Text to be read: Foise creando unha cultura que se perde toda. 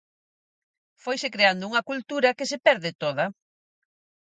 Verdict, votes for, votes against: accepted, 4, 0